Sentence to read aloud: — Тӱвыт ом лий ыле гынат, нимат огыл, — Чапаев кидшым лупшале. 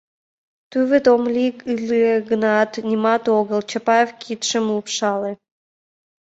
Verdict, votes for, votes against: rejected, 0, 2